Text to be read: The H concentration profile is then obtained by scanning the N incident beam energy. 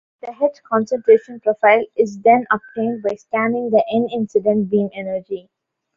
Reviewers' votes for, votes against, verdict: 1, 2, rejected